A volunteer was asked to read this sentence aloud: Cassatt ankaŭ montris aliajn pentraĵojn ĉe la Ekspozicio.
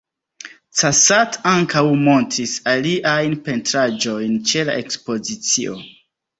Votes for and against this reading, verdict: 2, 0, accepted